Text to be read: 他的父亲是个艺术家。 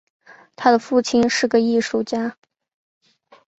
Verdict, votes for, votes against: accepted, 2, 0